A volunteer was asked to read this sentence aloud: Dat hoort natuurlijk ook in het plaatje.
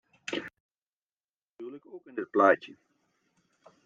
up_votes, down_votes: 1, 2